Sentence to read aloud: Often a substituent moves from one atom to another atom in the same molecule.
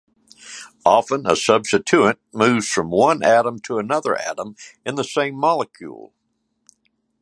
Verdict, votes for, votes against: rejected, 1, 2